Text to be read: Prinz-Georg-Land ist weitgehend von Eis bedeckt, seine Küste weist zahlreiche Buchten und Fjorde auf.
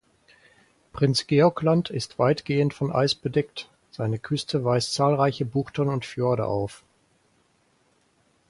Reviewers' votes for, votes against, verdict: 4, 0, accepted